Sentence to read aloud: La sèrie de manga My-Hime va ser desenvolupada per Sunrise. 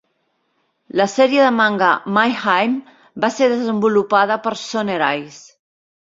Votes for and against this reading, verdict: 1, 2, rejected